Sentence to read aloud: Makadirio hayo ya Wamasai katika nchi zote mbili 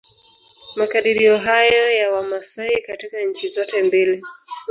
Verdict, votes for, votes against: rejected, 2, 3